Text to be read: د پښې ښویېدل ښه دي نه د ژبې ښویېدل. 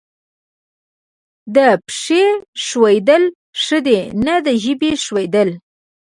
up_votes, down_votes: 1, 2